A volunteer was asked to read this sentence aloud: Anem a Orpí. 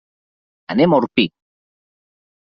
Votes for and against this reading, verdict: 3, 0, accepted